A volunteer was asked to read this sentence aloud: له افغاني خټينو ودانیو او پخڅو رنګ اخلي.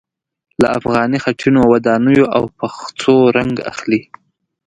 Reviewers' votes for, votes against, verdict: 2, 0, accepted